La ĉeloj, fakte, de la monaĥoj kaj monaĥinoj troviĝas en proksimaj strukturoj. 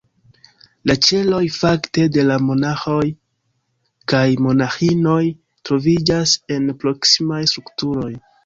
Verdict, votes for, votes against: accepted, 3, 0